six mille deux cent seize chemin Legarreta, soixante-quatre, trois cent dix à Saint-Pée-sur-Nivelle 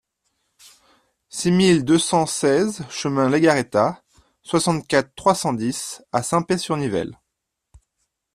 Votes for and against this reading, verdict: 2, 0, accepted